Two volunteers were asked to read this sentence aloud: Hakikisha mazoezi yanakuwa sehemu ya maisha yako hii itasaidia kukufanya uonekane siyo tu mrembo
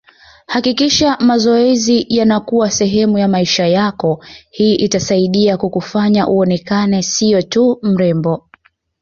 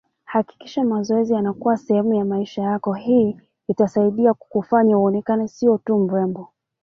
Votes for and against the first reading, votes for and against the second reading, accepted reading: 2, 0, 1, 2, first